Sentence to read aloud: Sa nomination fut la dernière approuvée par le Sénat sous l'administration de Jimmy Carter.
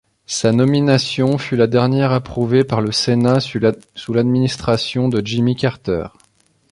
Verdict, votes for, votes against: rejected, 1, 2